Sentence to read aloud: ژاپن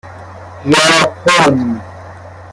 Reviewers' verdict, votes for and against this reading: rejected, 0, 2